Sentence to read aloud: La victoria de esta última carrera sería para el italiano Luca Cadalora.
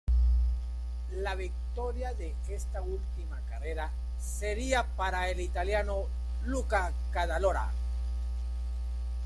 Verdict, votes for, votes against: rejected, 1, 2